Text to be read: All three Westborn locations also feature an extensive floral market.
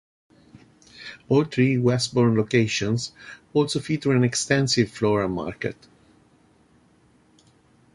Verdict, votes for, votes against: accepted, 2, 0